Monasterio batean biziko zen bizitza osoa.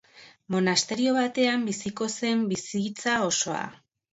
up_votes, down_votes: 3, 1